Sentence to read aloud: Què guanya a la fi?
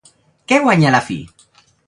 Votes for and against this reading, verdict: 0, 2, rejected